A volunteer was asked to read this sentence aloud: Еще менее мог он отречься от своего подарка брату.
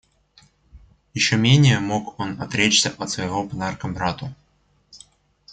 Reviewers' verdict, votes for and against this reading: accepted, 2, 0